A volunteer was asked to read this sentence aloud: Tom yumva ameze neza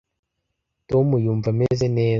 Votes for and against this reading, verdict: 2, 1, accepted